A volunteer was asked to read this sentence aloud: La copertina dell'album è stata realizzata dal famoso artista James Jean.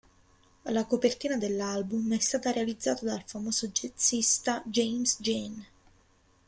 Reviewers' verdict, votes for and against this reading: rejected, 0, 2